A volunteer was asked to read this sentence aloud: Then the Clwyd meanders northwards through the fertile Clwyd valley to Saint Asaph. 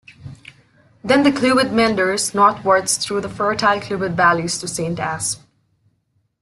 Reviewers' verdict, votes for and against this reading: accepted, 2, 1